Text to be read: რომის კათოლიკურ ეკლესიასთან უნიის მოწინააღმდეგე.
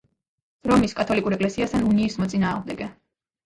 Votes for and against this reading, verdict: 2, 1, accepted